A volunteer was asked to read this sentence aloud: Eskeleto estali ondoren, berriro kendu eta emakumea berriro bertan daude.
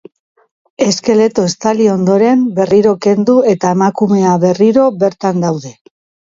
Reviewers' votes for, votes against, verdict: 0, 2, rejected